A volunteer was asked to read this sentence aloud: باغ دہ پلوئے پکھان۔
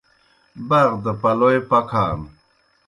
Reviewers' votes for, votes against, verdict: 2, 0, accepted